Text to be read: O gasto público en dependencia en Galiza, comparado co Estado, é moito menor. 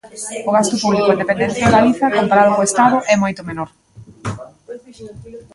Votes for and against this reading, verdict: 0, 2, rejected